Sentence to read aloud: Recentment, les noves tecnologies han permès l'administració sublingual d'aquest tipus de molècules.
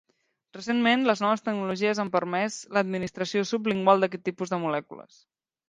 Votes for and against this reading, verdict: 2, 0, accepted